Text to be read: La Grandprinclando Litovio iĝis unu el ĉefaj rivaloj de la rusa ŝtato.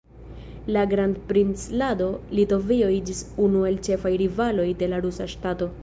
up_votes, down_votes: 1, 2